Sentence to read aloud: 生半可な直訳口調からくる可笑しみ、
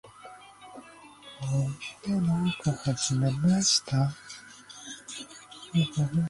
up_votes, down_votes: 1, 2